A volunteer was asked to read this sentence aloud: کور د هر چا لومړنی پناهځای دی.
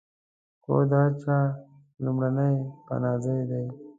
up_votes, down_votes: 1, 2